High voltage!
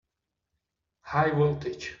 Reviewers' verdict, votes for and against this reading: accepted, 2, 0